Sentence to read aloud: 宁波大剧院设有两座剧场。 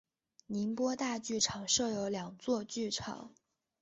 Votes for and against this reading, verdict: 2, 0, accepted